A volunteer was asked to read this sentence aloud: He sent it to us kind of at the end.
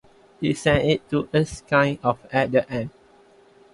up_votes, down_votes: 2, 0